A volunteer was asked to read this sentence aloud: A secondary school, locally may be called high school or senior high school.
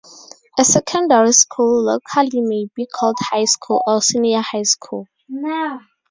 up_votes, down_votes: 0, 2